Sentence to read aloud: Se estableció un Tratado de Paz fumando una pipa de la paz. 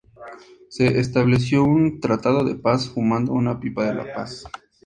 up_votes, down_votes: 6, 0